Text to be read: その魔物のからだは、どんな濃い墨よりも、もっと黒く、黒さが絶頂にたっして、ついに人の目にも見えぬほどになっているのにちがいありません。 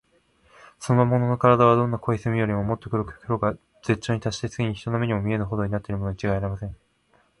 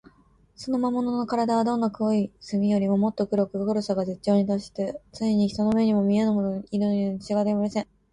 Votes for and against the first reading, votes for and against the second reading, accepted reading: 20, 17, 7, 8, first